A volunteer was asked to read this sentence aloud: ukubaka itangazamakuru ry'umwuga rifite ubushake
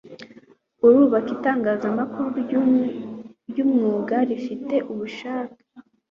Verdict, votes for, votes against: accepted, 2, 1